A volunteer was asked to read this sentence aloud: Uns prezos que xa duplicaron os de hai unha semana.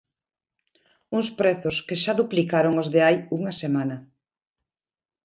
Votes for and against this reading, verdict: 2, 0, accepted